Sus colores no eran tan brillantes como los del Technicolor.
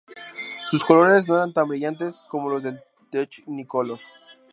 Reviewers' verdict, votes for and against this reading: rejected, 0, 2